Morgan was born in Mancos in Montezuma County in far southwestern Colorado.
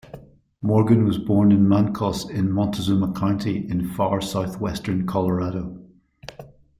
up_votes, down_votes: 2, 1